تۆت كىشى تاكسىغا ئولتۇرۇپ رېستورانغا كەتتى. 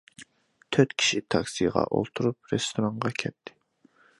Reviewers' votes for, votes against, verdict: 2, 0, accepted